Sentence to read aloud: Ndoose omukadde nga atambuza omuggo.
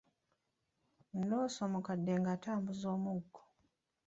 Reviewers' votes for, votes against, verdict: 2, 1, accepted